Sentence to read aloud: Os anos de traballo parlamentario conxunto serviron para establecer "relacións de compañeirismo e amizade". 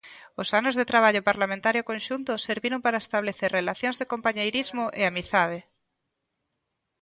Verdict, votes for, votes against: accepted, 2, 0